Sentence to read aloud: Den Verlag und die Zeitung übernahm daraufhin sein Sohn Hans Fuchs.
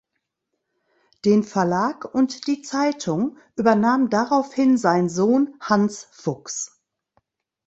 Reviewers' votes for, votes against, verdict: 2, 0, accepted